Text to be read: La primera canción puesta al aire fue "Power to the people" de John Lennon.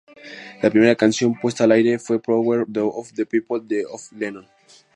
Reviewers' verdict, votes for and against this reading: rejected, 0, 2